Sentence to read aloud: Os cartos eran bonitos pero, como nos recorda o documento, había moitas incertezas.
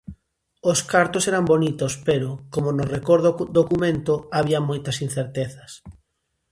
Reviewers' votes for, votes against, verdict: 0, 2, rejected